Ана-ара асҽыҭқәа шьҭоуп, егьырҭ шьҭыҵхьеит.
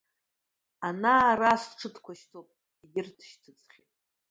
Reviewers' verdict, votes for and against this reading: rejected, 1, 2